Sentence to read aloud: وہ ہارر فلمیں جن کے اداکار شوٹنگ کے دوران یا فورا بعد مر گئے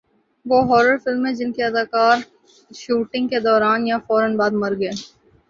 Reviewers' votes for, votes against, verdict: 2, 0, accepted